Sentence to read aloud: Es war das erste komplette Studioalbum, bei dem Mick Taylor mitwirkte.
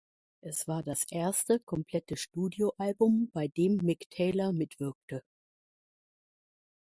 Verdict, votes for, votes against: accepted, 2, 0